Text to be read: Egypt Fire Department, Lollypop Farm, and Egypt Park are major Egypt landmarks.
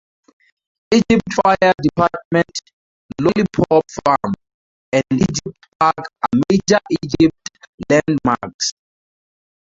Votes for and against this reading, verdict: 0, 4, rejected